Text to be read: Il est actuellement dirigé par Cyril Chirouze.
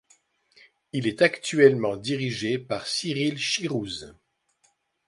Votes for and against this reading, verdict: 2, 0, accepted